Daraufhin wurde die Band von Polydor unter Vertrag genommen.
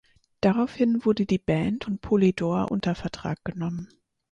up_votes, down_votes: 2, 4